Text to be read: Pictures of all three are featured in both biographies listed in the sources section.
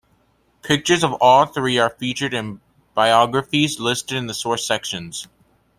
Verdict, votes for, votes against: rejected, 0, 2